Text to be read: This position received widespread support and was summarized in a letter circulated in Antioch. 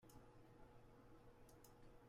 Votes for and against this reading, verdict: 0, 2, rejected